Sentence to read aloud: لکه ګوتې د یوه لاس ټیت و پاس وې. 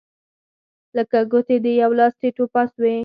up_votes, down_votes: 4, 2